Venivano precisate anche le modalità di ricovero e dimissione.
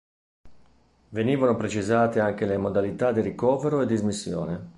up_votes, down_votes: 0, 3